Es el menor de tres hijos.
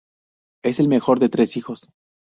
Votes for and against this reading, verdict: 0, 4, rejected